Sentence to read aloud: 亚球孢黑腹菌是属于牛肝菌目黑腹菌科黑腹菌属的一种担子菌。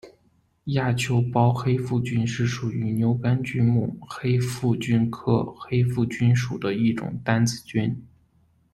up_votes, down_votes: 2, 0